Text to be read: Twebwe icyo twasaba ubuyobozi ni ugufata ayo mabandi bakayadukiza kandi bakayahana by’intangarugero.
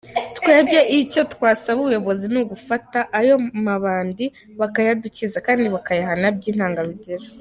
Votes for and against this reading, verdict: 1, 2, rejected